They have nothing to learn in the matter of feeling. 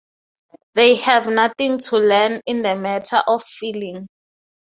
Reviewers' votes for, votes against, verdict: 6, 0, accepted